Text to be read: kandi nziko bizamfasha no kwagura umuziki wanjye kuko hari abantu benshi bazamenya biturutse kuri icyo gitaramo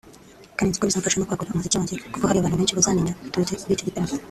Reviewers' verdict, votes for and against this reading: rejected, 0, 2